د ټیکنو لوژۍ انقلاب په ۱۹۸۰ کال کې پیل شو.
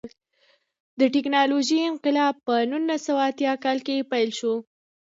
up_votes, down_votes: 0, 2